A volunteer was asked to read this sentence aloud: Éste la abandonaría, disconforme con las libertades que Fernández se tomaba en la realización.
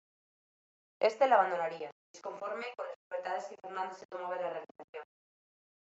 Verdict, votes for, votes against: rejected, 0, 2